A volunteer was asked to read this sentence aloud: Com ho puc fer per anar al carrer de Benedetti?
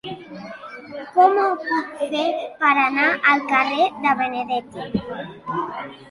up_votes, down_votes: 0, 2